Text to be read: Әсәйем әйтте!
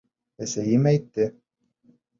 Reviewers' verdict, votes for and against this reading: accepted, 2, 0